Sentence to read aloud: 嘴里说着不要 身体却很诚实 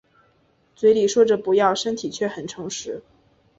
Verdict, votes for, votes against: accepted, 2, 0